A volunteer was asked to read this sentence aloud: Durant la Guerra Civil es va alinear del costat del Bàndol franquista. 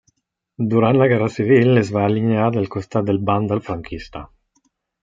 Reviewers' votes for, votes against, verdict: 2, 0, accepted